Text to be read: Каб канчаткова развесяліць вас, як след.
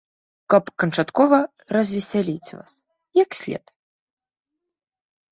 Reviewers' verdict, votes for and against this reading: accepted, 2, 0